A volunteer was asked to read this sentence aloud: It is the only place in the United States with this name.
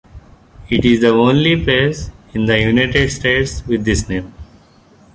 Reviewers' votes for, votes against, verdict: 3, 1, accepted